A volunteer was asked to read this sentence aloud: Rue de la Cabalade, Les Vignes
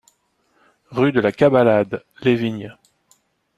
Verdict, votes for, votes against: accepted, 2, 0